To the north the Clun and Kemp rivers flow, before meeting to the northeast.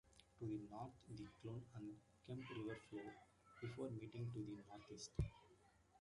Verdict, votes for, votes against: rejected, 0, 2